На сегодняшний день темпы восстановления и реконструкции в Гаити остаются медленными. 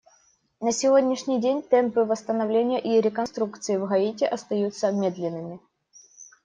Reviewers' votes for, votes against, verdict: 2, 0, accepted